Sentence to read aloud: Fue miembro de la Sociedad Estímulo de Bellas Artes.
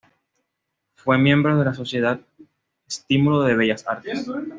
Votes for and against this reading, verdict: 2, 0, accepted